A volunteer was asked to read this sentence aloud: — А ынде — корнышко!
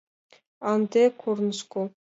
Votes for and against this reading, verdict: 2, 0, accepted